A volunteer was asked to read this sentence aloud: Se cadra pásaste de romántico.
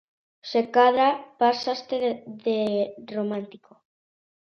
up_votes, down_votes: 0, 2